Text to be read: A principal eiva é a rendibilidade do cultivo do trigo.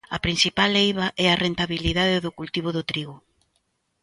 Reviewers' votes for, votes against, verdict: 0, 2, rejected